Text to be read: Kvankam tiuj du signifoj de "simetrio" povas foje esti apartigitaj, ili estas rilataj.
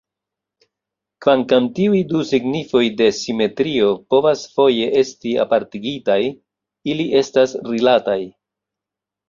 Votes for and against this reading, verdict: 0, 2, rejected